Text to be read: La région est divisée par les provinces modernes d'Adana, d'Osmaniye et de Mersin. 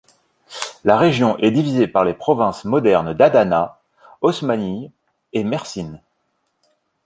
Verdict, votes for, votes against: rejected, 1, 2